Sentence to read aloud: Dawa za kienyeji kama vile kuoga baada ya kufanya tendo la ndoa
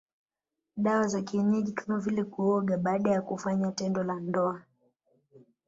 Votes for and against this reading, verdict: 0, 2, rejected